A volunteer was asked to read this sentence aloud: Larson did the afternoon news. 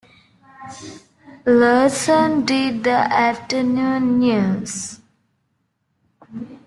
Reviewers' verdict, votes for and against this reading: accepted, 2, 0